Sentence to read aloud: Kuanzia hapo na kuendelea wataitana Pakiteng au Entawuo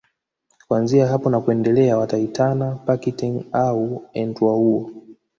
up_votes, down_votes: 1, 2